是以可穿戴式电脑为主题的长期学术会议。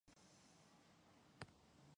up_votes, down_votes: 2, 5